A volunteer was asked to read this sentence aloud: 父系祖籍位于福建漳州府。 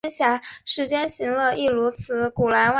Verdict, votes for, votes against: rejected, 0, 3